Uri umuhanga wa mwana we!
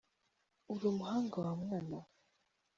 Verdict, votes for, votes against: accepted, 2, 0